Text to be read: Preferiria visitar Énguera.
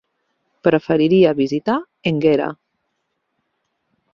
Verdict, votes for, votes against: rejected, 0, 2